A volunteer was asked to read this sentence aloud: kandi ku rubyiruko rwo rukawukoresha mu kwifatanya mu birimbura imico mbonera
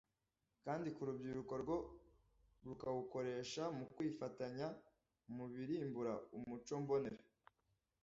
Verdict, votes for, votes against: accepted, 2, 0